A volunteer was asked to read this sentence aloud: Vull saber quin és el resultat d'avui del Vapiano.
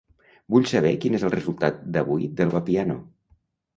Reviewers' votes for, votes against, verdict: 2, 0, accepted